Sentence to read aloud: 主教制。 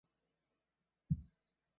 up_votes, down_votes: 0, 2